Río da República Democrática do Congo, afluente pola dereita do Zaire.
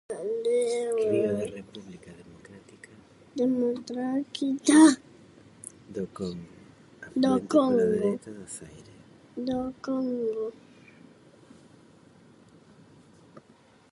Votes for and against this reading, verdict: 0, 2, rejected